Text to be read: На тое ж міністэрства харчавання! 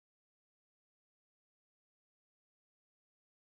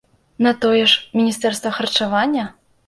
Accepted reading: second